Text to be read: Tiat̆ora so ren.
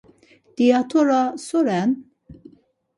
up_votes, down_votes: 4, 0